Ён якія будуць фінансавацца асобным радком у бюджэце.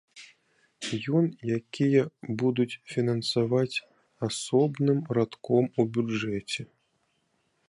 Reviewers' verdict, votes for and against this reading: rejected, 1, 2